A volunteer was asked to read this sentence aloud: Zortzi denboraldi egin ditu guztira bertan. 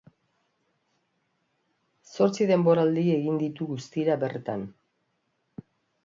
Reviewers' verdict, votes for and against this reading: accepted, 4, 0